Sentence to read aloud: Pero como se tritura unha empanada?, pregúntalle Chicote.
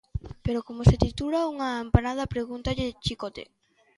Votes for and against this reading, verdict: 2, 0, accepted